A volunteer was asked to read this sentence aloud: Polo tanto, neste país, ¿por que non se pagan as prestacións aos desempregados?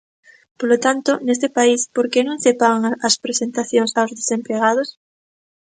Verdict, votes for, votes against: rejected, 0, 2